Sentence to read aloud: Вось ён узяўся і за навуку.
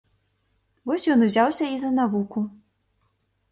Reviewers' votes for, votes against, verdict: 2, 0, accepted